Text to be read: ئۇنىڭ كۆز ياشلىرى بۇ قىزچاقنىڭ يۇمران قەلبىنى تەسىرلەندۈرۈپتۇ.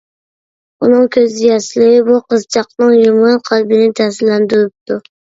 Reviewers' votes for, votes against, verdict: 2, 1, accepted